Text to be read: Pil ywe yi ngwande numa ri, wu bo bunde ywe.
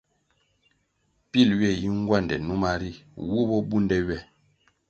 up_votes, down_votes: 2, 0